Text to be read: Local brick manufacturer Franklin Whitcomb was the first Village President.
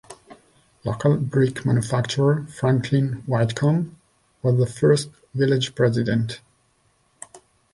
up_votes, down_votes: 2, 0